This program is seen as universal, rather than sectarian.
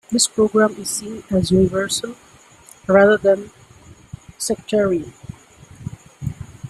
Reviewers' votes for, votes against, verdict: 2, 0, accepted